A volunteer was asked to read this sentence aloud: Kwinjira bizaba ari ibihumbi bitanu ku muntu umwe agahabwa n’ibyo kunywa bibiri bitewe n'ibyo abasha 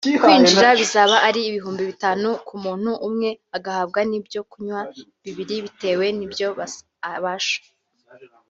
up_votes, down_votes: 0, 3